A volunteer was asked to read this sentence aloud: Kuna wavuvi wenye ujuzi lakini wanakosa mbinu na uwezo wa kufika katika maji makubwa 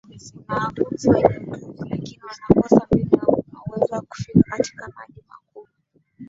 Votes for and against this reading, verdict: 1, 3, rejected